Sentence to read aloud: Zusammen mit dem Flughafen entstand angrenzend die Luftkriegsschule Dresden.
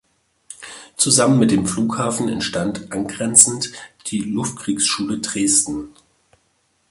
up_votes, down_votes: 2, 0